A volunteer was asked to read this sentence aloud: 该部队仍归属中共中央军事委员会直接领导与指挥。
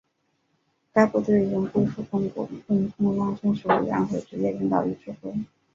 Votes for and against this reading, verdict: 1, 2, rejected